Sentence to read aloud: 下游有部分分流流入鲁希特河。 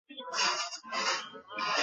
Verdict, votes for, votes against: rejected, 1, 2